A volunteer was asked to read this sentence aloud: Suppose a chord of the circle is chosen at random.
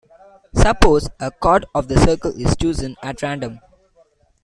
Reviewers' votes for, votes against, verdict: 0, 2, rejected